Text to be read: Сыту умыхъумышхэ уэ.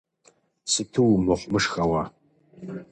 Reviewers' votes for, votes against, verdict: 2, 0, accepted